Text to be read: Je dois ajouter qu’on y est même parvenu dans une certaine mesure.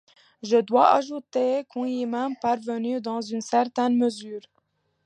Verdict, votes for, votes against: accepted, 2, 0